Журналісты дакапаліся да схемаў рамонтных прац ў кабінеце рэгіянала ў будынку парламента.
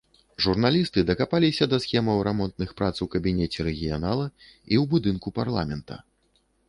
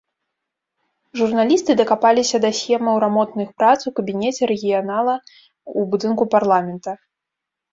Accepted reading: second